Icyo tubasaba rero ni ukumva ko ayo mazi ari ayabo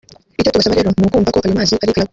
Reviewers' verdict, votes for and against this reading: rejected, 1, 2